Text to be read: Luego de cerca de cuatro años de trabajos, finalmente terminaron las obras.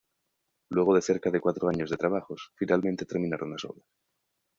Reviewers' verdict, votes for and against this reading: rejected, 1, 2